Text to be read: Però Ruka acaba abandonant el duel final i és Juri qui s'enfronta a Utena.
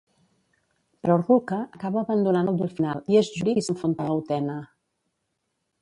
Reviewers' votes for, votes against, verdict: 1, 2, rejected